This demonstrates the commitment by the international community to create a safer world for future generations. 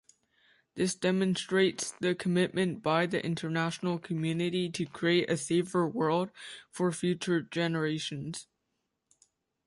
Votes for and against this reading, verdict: 2, 0, accepted